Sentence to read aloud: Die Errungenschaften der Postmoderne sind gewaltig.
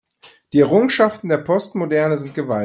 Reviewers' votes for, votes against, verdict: 0, 2, rejected